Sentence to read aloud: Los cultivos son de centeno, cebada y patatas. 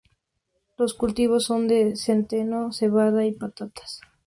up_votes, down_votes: 4, 0